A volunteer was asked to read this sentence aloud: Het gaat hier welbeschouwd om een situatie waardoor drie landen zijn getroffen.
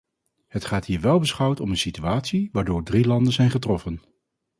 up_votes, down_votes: 2, 0